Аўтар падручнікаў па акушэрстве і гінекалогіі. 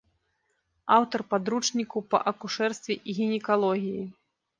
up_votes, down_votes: 1, 2